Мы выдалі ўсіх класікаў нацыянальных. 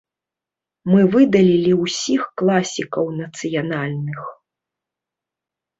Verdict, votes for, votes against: rejected, 0, 2